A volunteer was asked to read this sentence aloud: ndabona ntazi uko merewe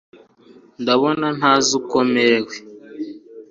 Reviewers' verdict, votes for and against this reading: accepted, 2, 0